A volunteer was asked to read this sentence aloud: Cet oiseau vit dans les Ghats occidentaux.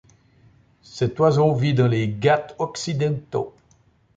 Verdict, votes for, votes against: rejected, 0, 3